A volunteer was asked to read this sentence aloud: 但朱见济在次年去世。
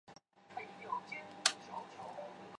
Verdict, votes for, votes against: rejected, 1, 2